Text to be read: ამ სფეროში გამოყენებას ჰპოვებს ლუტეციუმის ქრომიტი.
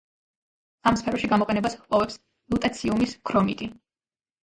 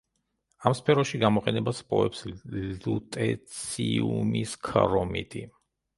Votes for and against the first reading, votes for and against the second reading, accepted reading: 2, 1, 0, 2, first